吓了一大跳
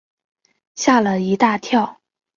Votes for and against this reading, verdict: 2, 0, accepted